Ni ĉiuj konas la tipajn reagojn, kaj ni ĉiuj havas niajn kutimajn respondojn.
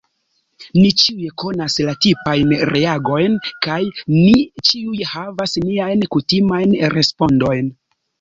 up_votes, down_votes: 3, 0